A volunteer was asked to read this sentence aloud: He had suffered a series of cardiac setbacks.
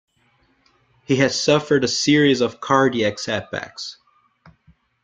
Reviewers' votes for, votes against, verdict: 0, 2, rejected